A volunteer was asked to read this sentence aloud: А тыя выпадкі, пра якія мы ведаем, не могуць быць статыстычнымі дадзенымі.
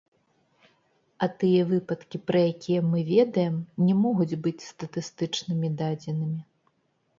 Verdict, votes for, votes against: accepted, 2, 0